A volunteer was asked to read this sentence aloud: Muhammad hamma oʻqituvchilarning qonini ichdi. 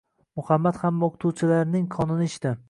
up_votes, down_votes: 2, 1